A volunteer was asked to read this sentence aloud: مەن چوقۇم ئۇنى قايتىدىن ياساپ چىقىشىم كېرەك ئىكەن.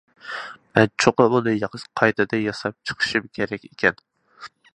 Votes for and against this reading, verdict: 0, 2, rejected